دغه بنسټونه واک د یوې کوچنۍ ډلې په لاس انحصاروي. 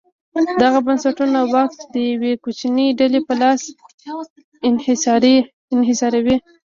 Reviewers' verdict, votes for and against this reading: rejected, 1, 2